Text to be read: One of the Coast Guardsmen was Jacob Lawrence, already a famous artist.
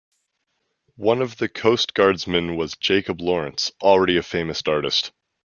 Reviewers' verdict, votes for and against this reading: accepted, 2, 0